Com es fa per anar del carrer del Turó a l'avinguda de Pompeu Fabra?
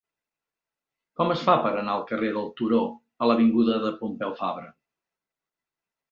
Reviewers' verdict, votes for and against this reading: rejected, 1, 2